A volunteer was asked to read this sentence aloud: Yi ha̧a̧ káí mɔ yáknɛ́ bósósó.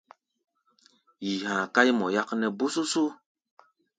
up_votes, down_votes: 2, 0